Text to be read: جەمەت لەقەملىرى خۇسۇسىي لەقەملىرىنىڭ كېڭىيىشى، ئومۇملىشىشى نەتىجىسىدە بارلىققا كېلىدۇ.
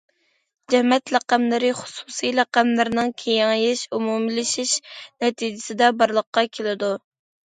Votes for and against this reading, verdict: 0, 2, rejected